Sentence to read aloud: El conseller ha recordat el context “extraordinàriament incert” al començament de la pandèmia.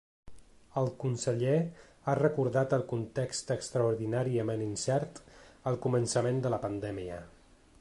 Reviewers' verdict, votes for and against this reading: accepted, 4, 0